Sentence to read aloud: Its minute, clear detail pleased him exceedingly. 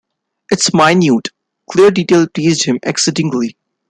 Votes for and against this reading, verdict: 0, 2, rejected